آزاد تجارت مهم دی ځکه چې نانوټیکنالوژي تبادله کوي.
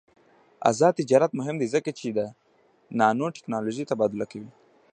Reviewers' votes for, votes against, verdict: 0, 2, rejected